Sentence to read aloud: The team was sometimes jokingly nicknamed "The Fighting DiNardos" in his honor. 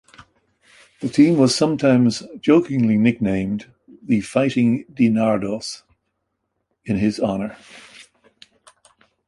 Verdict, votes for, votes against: accepted, 2, 0